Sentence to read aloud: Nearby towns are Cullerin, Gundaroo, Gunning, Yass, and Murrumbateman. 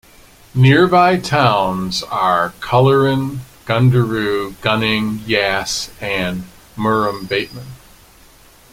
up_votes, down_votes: 2, 1